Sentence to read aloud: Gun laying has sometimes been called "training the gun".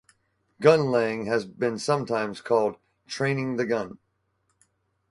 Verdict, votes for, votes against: rejected, 0, 4